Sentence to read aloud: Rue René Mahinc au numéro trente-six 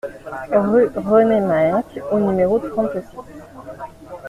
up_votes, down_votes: 2, 0